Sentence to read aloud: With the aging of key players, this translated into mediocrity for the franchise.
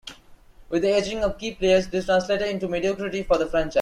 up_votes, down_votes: 1, 2